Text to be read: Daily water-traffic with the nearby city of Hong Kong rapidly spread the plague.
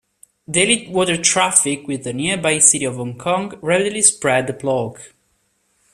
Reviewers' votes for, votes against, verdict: 2, 1, accepted